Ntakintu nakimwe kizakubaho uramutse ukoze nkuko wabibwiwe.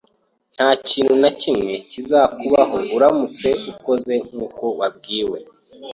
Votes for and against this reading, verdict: 1, 2, rejected